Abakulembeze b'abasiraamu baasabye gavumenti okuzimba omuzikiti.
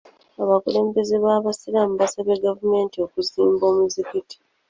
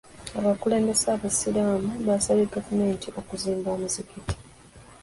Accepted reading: first